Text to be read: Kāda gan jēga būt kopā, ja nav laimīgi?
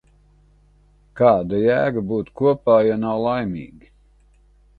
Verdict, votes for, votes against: rejected, 1, 2